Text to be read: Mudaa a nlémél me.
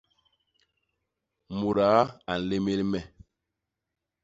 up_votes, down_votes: 2, 0